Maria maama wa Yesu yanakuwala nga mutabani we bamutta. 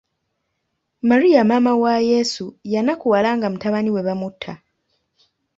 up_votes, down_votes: 2, 1